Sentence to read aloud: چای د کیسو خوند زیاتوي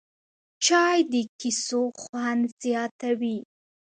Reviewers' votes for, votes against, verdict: 2, 0, accepted